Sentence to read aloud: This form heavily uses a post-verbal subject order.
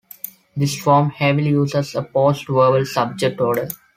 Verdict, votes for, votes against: accepted, 2, 0